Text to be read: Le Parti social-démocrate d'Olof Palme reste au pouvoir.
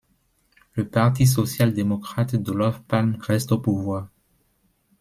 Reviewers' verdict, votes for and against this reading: accepted, 2, 1